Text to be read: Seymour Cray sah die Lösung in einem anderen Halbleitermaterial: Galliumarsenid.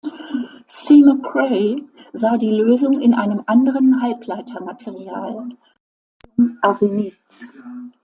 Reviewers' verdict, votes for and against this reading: rejected, 0, 2